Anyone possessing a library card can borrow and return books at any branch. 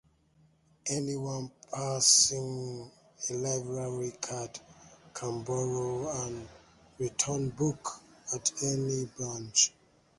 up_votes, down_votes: 0, 2